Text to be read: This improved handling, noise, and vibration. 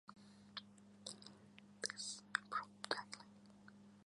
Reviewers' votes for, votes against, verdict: 0, 2, rejected